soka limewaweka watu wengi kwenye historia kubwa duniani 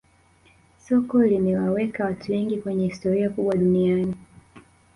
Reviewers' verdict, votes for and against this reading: accepted, 2, 0